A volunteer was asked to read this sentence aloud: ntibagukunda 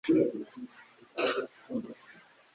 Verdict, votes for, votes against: rejected, 1, 2